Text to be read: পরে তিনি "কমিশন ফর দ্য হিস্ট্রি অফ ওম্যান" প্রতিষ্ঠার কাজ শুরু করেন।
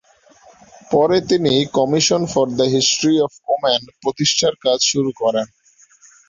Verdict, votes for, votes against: accepted, 2, 0